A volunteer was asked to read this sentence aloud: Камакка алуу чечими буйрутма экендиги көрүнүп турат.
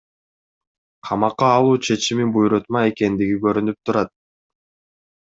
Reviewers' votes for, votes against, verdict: 2, 0, accepted